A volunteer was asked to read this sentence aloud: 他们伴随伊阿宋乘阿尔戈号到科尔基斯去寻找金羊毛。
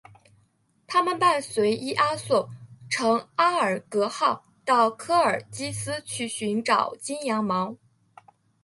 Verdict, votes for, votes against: accepted, 2, 0